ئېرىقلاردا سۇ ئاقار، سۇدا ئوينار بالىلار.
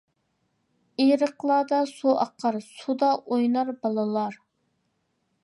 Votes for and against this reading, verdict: 2, 0, accepted